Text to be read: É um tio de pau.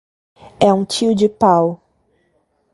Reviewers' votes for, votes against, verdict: 2, 0, accepted